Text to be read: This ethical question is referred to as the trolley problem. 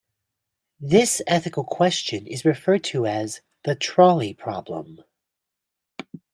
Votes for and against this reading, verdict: 2, 0, accepted